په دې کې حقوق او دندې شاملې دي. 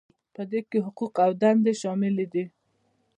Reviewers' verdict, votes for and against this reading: rejected, 1, 2